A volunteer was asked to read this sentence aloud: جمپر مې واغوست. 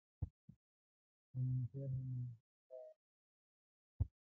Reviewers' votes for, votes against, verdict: 0, 2, rejected